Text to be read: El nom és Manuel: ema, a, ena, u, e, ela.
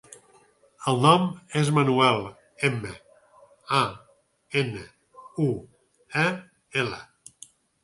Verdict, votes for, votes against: rejected, 2, 4